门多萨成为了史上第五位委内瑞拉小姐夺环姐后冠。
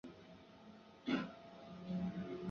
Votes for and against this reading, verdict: 0, 5, rejected